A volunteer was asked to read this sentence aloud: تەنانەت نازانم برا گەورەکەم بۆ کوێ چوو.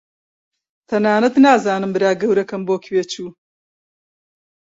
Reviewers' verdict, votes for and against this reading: accepted, 2, 0